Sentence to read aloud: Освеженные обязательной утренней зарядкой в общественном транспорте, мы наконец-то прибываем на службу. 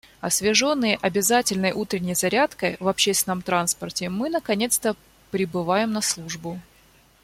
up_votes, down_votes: 2, 0